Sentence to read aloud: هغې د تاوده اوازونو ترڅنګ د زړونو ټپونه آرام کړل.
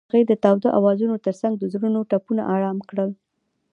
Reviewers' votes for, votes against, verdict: 2, 0, accepted